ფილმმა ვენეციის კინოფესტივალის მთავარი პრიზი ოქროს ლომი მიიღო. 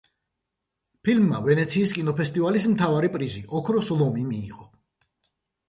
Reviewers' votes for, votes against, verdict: 2, 0, accepted